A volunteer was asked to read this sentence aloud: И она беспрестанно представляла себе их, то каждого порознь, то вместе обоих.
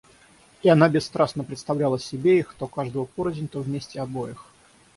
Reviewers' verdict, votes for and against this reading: rejected, 3, 6